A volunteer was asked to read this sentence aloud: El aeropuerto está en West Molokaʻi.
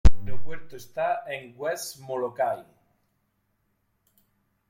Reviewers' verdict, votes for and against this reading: rejected, 1, 2